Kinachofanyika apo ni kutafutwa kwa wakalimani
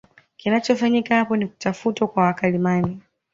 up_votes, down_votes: 2, 0